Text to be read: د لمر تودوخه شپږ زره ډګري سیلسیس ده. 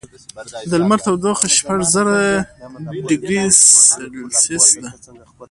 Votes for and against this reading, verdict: 2, 0, accepted